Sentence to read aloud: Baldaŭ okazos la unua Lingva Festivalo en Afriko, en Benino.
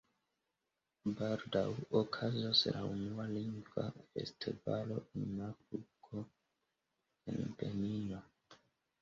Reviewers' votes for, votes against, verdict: 2, 0, accepted